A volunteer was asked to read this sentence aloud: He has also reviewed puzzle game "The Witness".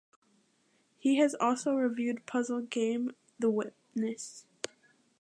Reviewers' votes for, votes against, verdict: 2, 0, accepted